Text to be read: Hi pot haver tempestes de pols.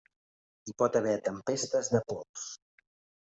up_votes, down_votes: 3, 1